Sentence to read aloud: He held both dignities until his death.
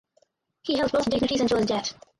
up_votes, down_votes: 2, 4